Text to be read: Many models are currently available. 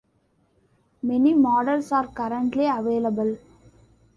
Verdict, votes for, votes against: accepted, 2, 0